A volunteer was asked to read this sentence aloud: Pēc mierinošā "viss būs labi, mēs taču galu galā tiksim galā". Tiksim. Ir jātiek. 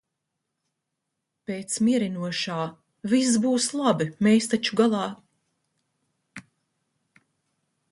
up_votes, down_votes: 0, 2